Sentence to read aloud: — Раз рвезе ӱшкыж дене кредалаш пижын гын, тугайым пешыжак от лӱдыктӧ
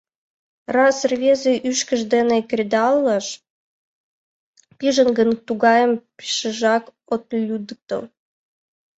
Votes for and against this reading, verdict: 0, 2, rejected